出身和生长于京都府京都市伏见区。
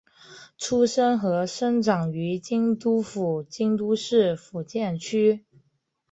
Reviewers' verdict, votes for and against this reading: accepted, 2, 0